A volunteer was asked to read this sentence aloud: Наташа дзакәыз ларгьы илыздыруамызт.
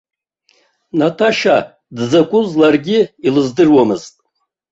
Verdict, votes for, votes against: accepted, 2, 0